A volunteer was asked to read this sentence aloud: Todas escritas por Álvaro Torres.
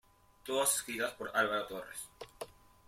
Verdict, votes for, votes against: rejected, 1, 2